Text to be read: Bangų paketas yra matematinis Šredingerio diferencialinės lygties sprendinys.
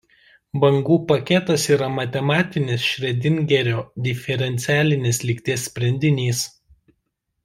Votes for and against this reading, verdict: 1, 2, rejected